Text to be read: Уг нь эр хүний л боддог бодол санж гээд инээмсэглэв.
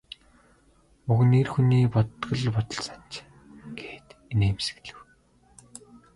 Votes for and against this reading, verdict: 0, 2, rejected